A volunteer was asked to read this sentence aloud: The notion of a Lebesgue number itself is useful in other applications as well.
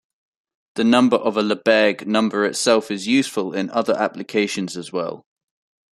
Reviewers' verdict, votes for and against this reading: rejected, 1, 2